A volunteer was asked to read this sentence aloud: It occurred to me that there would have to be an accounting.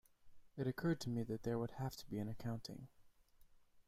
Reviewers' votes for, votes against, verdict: 2, 0, accepted